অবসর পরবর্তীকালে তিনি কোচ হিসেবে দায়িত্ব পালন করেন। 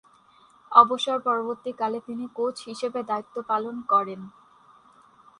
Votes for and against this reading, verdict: 4, 0, accepted